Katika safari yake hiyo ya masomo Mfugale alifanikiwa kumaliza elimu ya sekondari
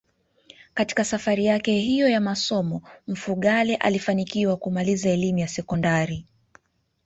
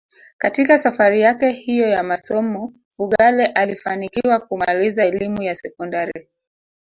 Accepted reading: first